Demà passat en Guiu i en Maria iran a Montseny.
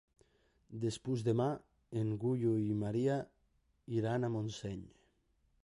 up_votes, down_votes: 1, 2